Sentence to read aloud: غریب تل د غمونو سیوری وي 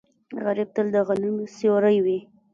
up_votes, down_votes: 2, 3